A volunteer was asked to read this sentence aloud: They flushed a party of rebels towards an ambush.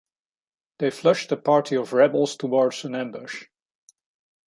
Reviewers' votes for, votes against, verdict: 2, 0, accepted